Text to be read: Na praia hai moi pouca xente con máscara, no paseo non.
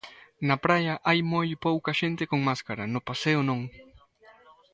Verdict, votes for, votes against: accepted, 2, 0